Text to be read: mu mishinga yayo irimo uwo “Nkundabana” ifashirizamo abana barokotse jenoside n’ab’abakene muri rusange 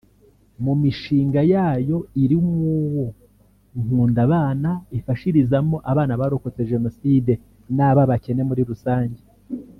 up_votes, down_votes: 2, 1